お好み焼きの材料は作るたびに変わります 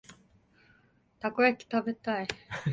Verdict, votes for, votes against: rejected, 2, 3